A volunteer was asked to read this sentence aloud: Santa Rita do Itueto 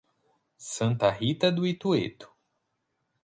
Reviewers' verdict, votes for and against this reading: accepted, 4, 0